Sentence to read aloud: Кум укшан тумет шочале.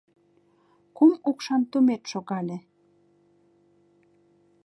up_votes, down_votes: 0, 3